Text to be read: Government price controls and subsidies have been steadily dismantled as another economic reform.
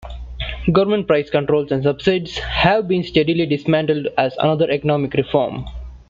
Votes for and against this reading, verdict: 0, 2, rejected